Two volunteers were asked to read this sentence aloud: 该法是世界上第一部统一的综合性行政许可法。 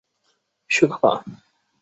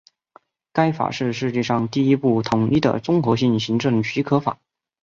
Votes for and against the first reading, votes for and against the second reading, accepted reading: 0, 2, 2, 0, second